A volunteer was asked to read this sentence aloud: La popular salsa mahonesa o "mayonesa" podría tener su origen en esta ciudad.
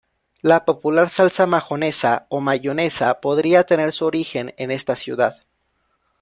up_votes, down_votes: 1, 2